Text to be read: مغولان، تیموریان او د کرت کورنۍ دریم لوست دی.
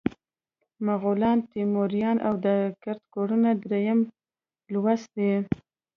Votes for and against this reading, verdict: 2, 0, accepted